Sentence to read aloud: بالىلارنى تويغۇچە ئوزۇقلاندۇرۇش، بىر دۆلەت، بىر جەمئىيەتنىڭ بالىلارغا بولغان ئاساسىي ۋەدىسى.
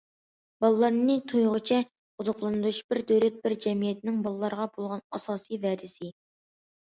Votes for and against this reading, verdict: 2, 0, accepted